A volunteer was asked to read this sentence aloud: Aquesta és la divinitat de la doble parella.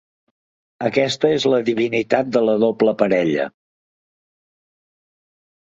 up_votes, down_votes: 3, 0